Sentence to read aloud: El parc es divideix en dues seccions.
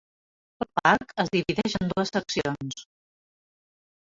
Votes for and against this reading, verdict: 1, 2, rejected